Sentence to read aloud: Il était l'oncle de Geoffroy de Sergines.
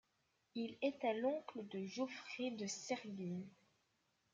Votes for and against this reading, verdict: 1, 2, rejected